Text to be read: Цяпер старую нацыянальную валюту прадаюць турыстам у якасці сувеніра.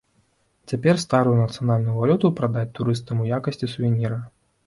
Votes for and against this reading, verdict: 1, 2, rejected